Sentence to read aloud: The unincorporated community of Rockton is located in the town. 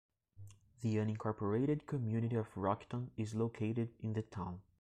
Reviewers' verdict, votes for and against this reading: accepted, 2, 0